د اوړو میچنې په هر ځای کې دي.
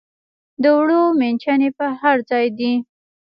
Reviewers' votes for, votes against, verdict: 0, 2, rejected